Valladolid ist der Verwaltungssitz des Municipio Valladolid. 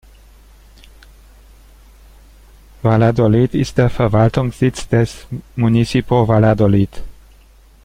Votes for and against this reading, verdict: 1, 2, rejected